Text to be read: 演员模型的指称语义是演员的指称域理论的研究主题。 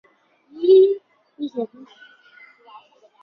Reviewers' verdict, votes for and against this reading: rejected, 1, 5